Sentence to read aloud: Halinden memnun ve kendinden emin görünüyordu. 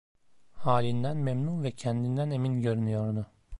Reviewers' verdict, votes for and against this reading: accepted, 2, 0